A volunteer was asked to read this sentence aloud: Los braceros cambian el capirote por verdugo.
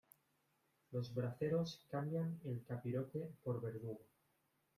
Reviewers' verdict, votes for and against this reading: accepted, 2, 0